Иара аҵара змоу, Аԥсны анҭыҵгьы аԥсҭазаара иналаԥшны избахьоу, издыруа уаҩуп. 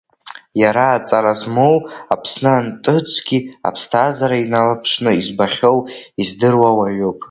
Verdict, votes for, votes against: rejected, 0, 2